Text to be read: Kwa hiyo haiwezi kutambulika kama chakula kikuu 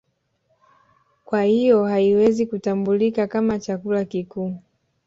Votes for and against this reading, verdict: 1, 2, rejected